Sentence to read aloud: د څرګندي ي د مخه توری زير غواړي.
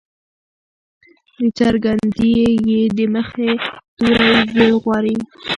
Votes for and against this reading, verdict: 0, 2, rejected